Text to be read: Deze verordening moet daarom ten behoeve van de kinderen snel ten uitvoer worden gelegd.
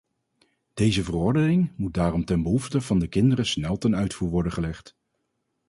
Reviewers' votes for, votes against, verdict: 0, 4, rejected